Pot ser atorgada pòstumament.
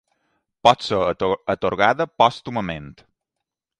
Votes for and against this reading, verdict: 2, 3, rejected